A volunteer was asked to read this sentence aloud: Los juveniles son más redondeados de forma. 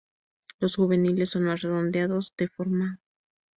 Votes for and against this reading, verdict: 2, 0, accepted